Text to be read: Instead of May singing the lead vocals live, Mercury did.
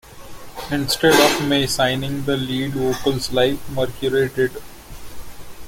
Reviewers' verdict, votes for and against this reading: rejected, 0, 2